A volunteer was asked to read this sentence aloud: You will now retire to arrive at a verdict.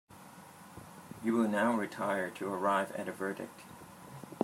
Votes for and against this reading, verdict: 2, 0, accepted